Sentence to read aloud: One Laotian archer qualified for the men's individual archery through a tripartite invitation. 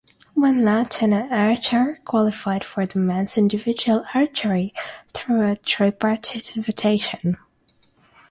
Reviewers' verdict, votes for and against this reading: accepted, 6, 3